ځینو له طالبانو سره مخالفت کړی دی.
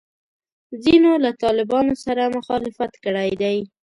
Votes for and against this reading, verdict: 2, 0, accepted